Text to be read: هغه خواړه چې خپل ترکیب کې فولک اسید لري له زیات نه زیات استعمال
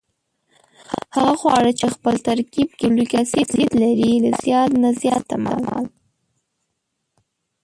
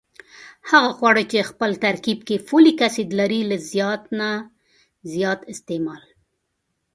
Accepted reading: second